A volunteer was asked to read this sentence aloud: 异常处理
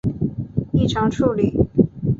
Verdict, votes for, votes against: rejected, 0, 2